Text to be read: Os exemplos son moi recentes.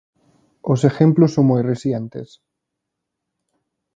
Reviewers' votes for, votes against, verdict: 0, 2, rejected